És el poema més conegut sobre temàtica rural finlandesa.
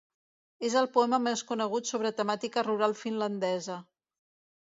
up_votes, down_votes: 2, 0